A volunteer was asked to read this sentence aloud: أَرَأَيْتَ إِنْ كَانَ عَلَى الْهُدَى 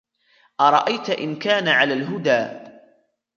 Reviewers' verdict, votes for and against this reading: rejected, 1, 2